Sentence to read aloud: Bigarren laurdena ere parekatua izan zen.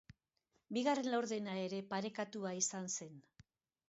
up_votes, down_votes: 2, 0